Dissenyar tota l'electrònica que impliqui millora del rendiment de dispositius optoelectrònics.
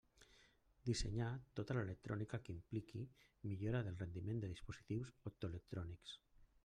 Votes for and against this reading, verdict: 0, 2, rejected